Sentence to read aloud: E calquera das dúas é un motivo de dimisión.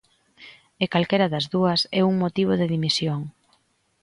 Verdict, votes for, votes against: accepted, 2, 0